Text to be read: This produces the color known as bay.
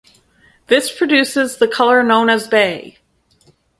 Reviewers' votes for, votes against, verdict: 6, 0, accepted